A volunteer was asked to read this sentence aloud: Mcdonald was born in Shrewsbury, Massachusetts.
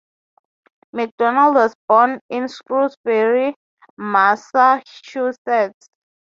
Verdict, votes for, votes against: accepted, 3, 0